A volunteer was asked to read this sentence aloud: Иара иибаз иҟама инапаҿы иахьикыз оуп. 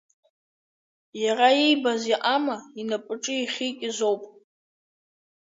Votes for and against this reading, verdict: 3, 0, accepted